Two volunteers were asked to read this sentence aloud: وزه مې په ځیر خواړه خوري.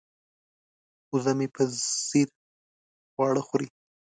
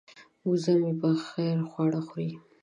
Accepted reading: first